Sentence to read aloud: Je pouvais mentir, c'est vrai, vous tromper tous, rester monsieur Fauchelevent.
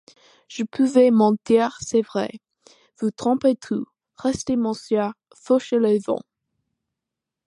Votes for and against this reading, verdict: 2, 1, accepted